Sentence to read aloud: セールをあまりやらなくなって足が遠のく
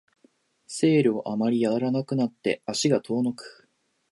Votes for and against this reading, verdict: 0, 2, rejected